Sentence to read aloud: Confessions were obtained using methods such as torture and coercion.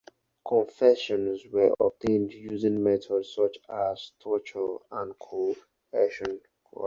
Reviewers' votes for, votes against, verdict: 4, 2, accepted